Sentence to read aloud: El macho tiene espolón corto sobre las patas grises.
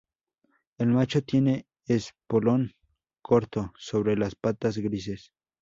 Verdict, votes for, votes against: rejected, 0, 2